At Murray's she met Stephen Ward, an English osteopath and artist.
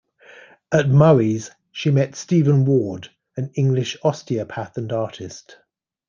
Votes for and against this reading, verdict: 2, 0, accepted